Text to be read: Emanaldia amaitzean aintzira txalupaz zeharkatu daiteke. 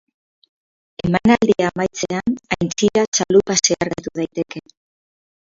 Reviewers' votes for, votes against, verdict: 0, 4, rejected